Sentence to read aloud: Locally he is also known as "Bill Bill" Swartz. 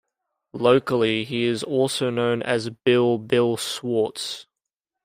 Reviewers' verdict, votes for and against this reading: accepted, 2, 0